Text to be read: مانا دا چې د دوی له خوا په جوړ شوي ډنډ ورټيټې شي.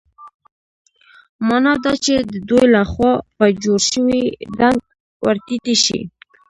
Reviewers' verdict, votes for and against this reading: rejected, 0, 2